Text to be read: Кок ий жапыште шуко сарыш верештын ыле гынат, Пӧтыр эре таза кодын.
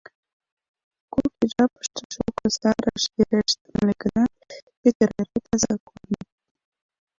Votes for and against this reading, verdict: 1, 2, rejected